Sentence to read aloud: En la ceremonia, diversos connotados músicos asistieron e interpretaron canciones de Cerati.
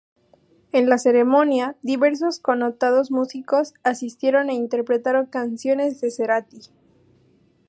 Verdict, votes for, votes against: accepted, 2, 0